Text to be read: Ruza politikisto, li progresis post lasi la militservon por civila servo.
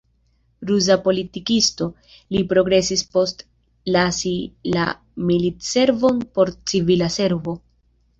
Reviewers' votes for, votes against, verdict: 2, 0, accepted